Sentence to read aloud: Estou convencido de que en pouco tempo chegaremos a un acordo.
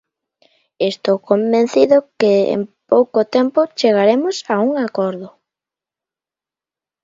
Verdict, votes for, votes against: accepted, 2, 0